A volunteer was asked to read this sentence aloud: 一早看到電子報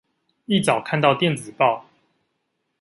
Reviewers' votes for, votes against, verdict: 2, 0, accepted